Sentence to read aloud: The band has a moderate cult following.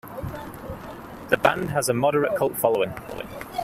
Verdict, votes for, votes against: rejected, 0, 2